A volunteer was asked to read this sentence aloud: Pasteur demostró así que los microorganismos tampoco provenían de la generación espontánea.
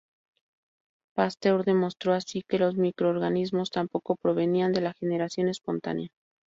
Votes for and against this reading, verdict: 0, 2, rejected